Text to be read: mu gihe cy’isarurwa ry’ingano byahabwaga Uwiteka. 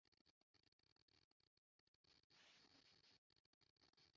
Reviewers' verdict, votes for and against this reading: rejected, 0, 2